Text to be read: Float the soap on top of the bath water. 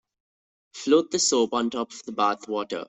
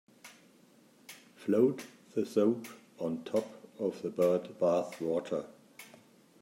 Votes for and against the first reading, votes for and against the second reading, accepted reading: 2, 0, 1, 2, first